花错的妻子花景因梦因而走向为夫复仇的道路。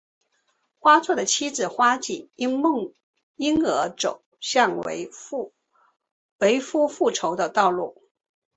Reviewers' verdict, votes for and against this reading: rejected, 0, 2